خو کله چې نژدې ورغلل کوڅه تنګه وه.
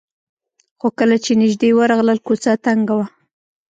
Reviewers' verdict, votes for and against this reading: accepted, 2, 0